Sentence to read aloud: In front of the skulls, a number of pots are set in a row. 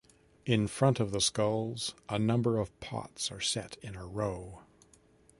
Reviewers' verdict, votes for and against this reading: accepted, 2, 0